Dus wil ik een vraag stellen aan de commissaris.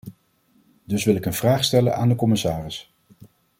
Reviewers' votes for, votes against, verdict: 2, 0, accepted